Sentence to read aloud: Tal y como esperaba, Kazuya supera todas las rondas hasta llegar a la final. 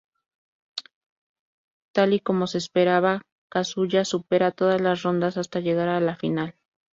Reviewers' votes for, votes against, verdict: 0, 2, rejected